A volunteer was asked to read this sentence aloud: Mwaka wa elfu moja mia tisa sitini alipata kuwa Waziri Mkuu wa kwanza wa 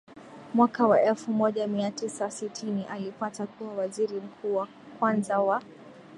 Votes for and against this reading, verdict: 2, 0, accepted